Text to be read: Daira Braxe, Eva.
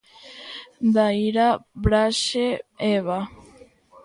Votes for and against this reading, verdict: 3, 0, accepted